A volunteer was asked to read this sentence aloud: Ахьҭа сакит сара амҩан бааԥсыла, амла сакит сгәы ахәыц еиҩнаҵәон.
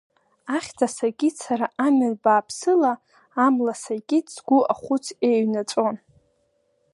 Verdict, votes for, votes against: rejected, 1, 2